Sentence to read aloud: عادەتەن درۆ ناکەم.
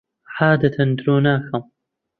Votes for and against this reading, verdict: 2, 0, accepted